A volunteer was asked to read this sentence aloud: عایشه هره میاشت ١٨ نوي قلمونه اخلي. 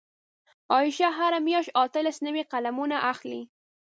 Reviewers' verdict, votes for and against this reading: rejected, 0, 2